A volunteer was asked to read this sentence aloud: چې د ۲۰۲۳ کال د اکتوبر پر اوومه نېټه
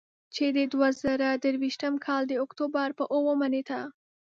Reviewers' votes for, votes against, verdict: 0, 2, rejected